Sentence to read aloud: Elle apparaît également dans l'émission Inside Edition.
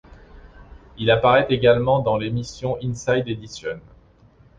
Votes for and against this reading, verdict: 1, 2, rejected